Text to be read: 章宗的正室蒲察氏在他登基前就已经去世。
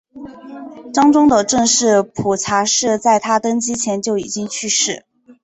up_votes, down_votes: 2, 0